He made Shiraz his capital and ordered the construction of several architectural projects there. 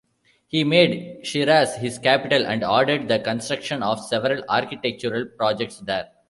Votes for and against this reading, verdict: 2, 1, accepted